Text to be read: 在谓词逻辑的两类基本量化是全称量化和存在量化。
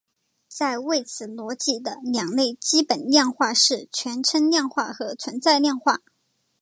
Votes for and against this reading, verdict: 2, 0, accepted